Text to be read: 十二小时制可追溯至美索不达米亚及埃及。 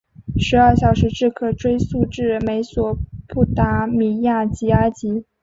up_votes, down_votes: 6, 0